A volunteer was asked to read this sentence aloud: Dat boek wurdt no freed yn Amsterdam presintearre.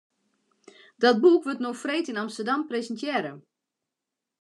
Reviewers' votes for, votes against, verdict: 2, 0, accepted